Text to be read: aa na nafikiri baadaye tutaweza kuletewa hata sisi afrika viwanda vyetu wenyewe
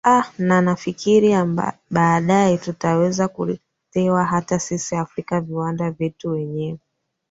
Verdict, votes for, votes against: rejected, 1, 3